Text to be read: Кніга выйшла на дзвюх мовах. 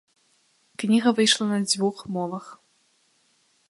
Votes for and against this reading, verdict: 0, 2, rejected